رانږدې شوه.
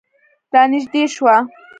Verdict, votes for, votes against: accepted, 2, 0